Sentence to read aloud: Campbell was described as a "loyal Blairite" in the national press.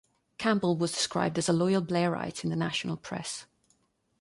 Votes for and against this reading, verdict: 2, 0, accepted